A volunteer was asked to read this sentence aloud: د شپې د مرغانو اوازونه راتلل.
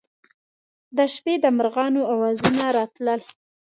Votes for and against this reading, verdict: 2, 0, accepted